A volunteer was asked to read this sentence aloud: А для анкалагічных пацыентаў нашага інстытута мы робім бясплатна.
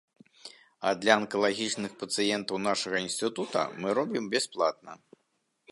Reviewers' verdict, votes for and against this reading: accepted, 2, 0